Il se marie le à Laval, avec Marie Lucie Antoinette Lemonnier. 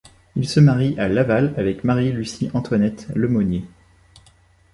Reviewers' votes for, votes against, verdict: 0, 2, rejected